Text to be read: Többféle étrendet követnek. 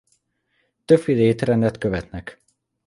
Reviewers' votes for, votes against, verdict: 2, 0, accepted